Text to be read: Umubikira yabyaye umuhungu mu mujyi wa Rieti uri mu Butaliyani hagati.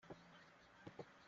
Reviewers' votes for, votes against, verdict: 0, 2, rejected